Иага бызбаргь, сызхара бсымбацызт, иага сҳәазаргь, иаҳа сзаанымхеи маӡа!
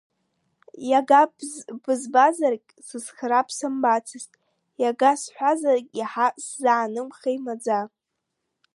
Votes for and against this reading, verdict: 0, 2, rejected